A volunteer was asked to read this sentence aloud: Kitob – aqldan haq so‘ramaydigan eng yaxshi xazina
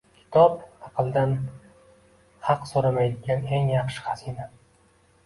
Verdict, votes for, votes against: accepted, 2, 1